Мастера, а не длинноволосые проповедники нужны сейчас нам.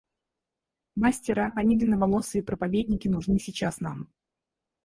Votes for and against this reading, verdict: 2, 2, rejected